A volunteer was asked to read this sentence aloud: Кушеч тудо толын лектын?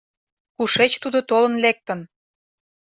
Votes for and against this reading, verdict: 2, 0, accepted